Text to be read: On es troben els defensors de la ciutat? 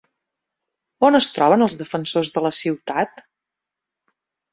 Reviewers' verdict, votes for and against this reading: accepted, 2, 0